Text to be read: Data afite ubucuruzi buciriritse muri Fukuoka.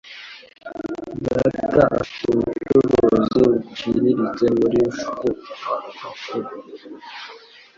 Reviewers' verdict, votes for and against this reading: rejected, 1, 2